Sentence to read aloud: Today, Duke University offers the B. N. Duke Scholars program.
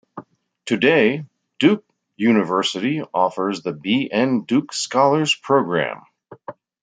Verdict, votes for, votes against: accepted, 2, 0